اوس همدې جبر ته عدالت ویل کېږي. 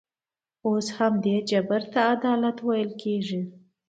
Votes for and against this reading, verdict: 2, 0, accepted